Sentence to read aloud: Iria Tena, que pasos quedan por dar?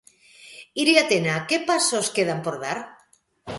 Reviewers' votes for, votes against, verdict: 2, 0, accepted